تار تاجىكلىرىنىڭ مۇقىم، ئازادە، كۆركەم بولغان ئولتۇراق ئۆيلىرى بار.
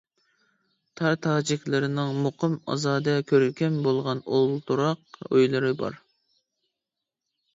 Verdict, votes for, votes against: accepted, 2, 0